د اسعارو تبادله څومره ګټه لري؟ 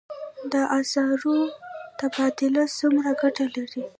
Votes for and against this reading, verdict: 0, 2, rejected